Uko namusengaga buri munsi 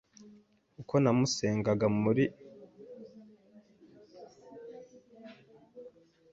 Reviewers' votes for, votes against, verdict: 0, 2, rejected